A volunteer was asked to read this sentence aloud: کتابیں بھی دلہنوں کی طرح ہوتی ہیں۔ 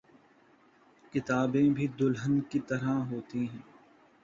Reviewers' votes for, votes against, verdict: 0, 2, rejected